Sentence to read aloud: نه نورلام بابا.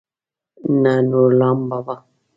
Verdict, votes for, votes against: accepted, 2, 0